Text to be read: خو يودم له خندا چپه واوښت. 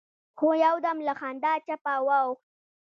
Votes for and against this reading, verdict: 1, 2, rejected